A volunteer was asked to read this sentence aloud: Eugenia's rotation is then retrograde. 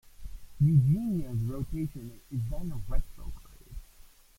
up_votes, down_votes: 0, 2